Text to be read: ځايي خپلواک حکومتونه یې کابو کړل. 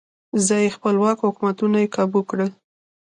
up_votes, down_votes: 1, 2